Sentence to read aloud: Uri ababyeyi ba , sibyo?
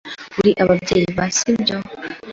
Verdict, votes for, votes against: accepted, 2, 0